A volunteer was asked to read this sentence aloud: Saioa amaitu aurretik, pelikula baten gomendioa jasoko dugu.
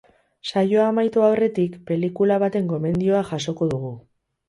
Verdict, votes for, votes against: accepted, 4, 0